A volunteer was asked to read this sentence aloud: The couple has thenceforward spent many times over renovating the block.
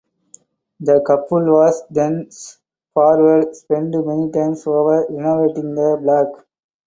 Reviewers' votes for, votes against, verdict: 0, 4, rejected